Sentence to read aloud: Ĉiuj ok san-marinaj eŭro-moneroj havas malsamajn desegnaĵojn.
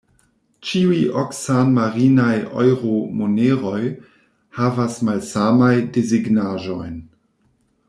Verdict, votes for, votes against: rejected, 0, 2